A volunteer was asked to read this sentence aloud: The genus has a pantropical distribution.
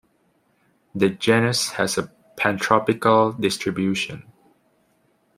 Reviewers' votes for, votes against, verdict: 1, 2, rejected